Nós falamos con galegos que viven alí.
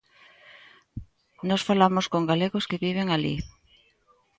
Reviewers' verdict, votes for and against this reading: accepted, 2, 0